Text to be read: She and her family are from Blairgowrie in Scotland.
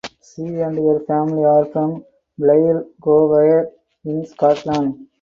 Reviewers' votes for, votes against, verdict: 4, 0, accepted